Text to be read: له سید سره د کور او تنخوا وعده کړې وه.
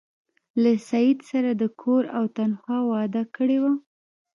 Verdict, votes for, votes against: accepted, 2, 0